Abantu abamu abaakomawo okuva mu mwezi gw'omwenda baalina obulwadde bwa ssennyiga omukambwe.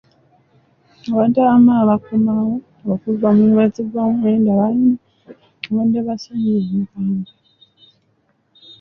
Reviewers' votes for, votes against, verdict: 0, 2, rejected